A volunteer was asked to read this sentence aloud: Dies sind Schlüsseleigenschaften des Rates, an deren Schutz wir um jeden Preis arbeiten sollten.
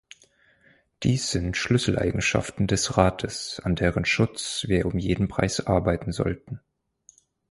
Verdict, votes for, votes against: accepted, 4, 0